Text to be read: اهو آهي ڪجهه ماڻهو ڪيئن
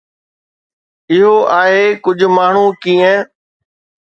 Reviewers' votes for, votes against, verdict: 2, 0, accepted